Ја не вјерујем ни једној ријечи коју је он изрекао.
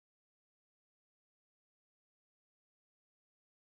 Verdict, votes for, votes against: rejected, 0, 2